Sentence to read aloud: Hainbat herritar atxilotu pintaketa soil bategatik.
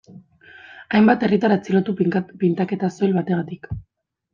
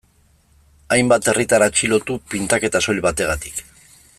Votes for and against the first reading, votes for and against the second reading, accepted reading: 1, 2, 3, 0, second